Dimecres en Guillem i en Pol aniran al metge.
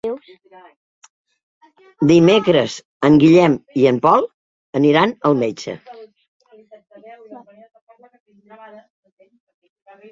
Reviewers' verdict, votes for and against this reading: rejected, 0, 2